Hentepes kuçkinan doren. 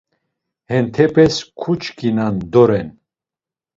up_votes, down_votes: 2, 0